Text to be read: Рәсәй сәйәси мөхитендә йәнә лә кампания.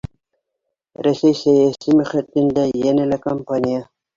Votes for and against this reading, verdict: 0, 2, rejected